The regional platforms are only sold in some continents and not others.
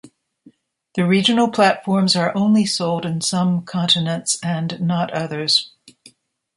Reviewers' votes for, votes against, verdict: 2, 0, accepted